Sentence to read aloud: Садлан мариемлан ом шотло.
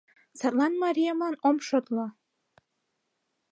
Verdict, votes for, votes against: accepted, 2, 0